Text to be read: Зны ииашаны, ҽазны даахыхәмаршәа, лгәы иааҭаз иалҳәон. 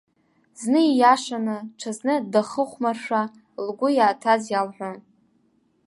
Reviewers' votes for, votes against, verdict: 0, 2, rejected